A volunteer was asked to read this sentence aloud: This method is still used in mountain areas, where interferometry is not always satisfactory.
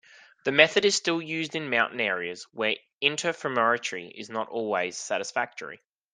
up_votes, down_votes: 2, 0